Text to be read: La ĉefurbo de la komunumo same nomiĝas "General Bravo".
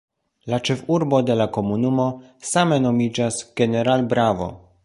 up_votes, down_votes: 0, 2